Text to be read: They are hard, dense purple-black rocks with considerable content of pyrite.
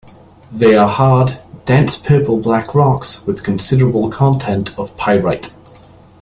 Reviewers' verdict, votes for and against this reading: accepted, 2, 0